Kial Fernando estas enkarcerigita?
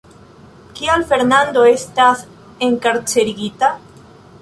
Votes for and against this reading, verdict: 1, 2, rejected